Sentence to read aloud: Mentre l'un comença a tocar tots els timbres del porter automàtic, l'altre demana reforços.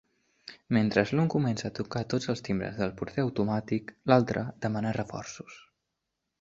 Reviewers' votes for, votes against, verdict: 1, 2, rejected